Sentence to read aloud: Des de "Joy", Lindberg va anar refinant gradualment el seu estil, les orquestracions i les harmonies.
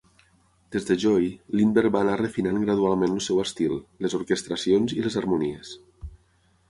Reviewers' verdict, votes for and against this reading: accepted, 6, 0